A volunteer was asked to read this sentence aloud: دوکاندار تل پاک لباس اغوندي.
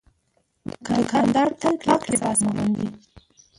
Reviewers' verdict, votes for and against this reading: rejected, 1, 2